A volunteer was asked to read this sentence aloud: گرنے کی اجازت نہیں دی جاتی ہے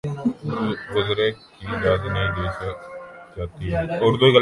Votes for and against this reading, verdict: 0, 3, rejected